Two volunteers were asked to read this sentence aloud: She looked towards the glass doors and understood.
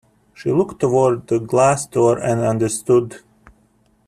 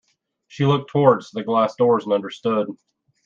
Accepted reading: second